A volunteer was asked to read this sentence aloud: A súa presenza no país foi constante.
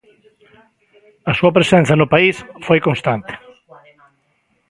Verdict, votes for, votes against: rejected, 1, 2